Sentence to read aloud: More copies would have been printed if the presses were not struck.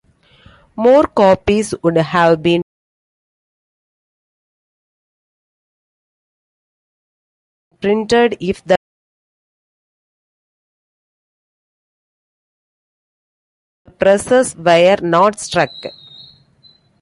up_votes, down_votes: 0, 2